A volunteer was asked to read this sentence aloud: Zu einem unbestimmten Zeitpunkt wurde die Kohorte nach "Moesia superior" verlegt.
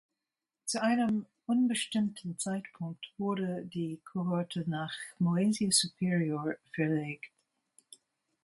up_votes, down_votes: 2, 0